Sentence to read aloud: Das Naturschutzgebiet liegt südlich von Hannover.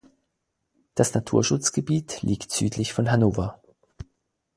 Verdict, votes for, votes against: accepted, 4, 2